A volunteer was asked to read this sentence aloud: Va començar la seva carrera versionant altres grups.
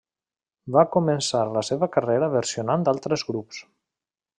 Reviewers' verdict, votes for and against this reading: rejected, 1, 2